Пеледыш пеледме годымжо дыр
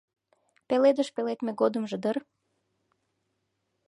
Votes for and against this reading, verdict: 2, 0, accepted